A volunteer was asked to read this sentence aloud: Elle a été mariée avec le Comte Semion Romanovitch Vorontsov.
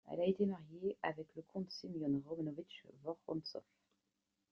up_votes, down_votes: 0, 2